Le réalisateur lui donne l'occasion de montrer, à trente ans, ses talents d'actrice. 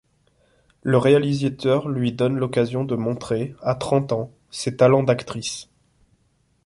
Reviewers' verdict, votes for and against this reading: rejected, 1, 2